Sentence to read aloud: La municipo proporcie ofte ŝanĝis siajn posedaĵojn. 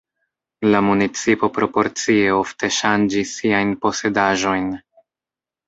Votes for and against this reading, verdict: 2, 1, accepted